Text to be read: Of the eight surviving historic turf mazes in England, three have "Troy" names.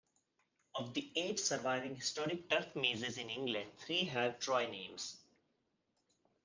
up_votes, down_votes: 1, 2